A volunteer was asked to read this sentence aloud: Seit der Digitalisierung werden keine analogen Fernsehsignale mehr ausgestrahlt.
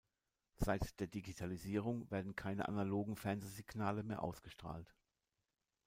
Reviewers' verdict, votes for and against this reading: rejected, 1, 2